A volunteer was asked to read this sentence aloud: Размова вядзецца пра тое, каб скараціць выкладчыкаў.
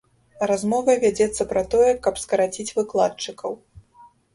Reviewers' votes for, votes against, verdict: 2, 0, accepted